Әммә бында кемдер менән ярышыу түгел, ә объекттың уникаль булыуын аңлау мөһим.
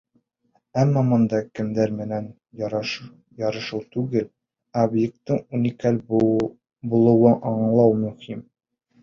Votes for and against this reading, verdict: 1, 2, rejected